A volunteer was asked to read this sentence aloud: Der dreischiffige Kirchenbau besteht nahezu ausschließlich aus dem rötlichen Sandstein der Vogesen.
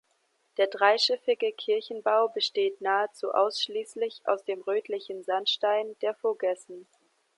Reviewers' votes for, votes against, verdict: 1, 2, rejected